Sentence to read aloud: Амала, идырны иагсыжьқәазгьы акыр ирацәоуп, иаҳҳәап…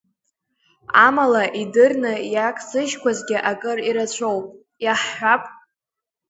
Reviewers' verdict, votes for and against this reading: accepted, 2, 0